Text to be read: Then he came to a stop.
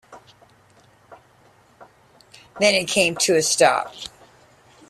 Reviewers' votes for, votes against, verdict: 2, 1, accepted